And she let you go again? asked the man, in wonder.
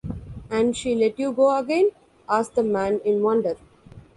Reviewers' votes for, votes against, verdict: 0, 2, rejected